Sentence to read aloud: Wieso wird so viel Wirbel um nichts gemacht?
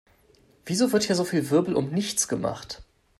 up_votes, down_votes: 1, 3